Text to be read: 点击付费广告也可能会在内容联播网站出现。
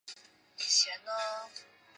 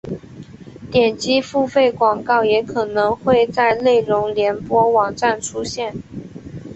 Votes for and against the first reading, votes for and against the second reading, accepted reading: 0, 2, 3, 0, second